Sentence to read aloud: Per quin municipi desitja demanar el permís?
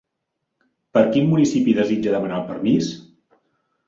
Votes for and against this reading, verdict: 3, 0, accepted